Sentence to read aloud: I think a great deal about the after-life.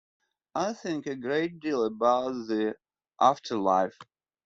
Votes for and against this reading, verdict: 2, 0, accepted